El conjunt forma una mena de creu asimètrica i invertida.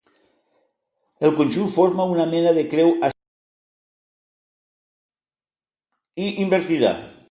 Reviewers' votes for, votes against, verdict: 0, 2, rejected